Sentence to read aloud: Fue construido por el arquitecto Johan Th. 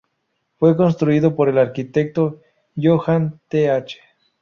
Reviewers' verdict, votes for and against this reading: accepted, 4, 0